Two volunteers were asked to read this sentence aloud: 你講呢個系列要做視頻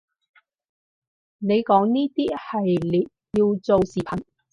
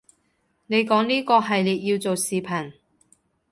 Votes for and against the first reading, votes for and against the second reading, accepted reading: 0, 4, 2, 0, second